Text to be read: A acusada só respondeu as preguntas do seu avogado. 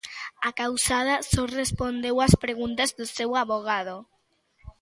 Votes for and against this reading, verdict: 0, 2, rejected